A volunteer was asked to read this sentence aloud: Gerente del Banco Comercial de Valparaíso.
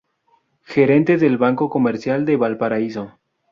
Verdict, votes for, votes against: accepted, 4, 0